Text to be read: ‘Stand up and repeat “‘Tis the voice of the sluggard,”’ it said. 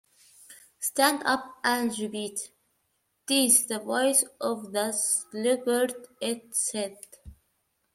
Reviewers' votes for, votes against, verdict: 1, 2, rejected